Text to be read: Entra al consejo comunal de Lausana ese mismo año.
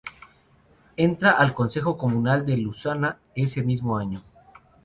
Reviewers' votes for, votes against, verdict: 0, 2, rejected